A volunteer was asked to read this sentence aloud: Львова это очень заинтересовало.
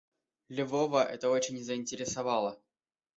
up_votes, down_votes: 0, 2